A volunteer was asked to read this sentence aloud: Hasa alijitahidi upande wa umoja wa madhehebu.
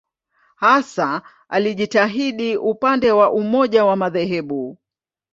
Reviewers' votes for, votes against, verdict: 3, 0, accepted